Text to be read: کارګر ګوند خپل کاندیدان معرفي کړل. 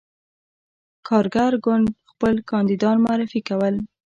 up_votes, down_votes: 2, 1